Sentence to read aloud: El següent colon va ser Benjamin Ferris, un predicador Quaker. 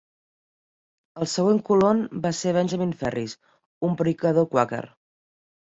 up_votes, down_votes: 1, 2